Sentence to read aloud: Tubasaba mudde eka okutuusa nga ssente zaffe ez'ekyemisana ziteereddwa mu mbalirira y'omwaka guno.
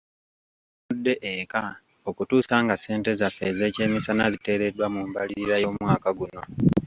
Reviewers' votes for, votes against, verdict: 1, 2, rejected